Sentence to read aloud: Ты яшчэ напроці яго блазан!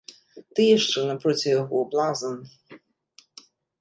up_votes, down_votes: 2, 0